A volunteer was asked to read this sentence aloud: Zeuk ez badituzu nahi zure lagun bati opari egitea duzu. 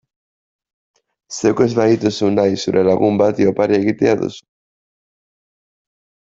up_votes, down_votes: 2, 1